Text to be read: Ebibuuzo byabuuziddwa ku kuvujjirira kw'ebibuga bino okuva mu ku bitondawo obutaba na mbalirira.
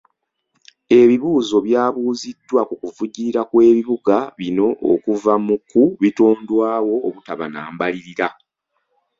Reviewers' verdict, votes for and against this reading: rejected, 0, 2